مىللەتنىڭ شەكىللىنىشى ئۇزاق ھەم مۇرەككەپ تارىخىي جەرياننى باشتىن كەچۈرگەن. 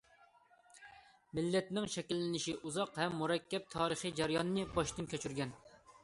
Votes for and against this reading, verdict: 2, 0, accepted